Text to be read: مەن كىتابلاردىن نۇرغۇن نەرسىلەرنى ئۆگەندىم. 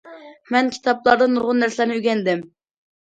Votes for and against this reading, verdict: 2, 0, accepted